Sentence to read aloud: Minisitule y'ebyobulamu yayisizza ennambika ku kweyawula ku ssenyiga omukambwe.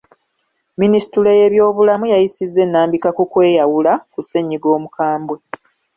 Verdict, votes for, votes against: rejected, 0, 2